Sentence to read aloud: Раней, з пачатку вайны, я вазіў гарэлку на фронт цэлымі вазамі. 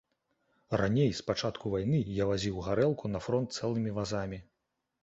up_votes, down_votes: 2, 0